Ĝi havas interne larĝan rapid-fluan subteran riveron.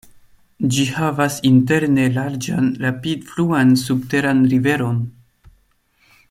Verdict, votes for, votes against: accepted, 2, 0